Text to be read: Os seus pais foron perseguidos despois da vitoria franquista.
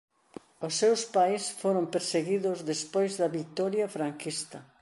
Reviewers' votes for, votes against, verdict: 2, 0, accepted